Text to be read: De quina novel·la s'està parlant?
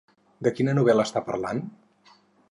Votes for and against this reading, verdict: 2, 4, rejected